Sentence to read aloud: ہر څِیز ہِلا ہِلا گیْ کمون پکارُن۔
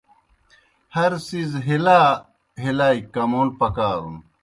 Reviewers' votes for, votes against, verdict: 2, 0, accepted